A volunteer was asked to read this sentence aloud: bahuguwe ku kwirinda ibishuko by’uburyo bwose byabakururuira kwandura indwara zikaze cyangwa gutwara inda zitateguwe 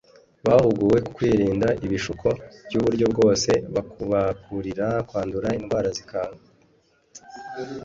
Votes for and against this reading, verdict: 1, 2, rejected